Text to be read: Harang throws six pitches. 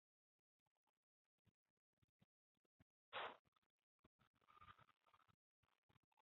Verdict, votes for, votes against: rejected, 0, 2